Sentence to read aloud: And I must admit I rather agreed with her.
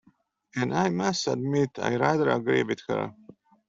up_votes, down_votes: 1, 2